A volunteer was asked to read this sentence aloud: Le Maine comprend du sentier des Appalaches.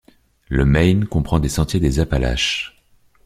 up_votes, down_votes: 1, 2